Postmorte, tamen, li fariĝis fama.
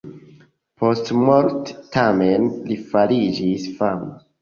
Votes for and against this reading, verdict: 2, 0, accepted